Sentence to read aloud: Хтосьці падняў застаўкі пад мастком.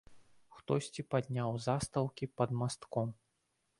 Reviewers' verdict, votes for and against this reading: accepted, 2, 0